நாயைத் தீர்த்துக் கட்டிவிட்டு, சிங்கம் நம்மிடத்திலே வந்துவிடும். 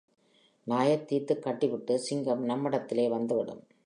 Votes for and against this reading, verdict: 3, 0, accepted